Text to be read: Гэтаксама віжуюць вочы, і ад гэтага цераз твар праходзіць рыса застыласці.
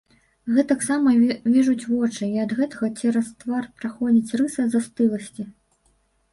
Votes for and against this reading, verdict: 1, 2, rejected